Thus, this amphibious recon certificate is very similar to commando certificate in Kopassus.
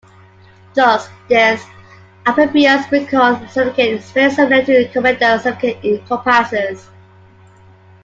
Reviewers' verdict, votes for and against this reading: rejected, 0, 2